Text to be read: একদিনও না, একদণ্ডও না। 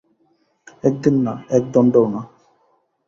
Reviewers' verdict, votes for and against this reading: rejected, 1, 3